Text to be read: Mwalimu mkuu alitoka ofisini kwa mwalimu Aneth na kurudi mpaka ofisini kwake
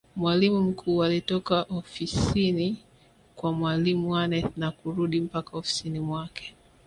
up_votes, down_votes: 2, 0